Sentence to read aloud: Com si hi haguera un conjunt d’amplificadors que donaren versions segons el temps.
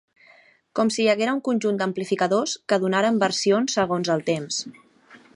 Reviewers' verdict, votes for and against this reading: accepted, 4, 0